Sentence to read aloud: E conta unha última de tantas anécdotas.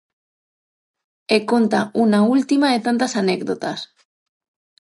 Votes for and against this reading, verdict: 3, 6, rejected